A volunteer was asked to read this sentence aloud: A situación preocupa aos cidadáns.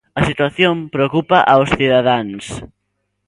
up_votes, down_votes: 2, 0